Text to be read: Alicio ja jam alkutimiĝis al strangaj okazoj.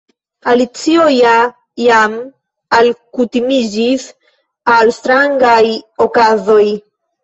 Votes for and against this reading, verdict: 2, 0, accepted